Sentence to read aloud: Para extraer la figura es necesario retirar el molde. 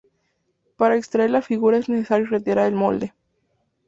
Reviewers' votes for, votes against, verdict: 2, 0, accepted